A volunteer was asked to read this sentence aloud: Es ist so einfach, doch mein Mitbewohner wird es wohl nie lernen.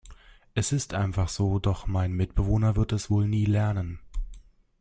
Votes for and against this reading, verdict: 1, 2, rejected